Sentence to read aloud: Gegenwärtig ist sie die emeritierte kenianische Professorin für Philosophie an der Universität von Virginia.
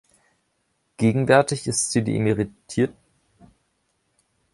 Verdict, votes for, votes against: rejected, 0, 2